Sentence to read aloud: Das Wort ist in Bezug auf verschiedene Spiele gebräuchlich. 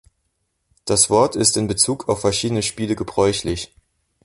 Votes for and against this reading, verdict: 2, 0, accepted